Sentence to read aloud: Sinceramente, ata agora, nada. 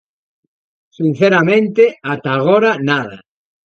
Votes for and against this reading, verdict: 2, 0, accepted